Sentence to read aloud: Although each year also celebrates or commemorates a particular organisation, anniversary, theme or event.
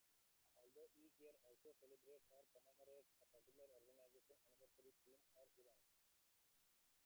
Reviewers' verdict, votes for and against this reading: rejected, 0, 2